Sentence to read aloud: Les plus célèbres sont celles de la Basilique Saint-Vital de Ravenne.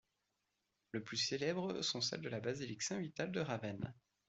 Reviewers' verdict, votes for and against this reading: rejected, 1, 2